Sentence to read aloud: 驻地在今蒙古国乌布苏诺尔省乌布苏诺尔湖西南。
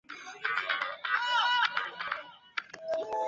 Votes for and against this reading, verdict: 0, 4, rejected